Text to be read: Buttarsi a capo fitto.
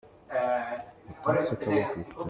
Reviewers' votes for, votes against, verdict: 0, 2, rejected